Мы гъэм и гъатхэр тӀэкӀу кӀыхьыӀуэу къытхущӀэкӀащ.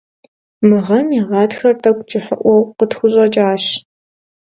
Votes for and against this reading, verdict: 2, 0, accepted